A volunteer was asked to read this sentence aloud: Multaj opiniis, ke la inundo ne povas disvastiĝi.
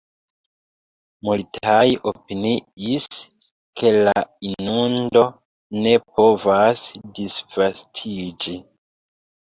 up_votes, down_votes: 0, 3